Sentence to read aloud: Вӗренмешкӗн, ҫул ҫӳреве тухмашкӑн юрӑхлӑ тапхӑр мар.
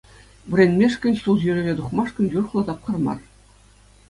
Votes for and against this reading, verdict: 2, 0, accepted